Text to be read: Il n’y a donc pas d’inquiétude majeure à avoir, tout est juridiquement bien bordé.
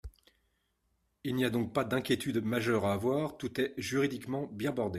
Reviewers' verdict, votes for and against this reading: rejected, 1, 2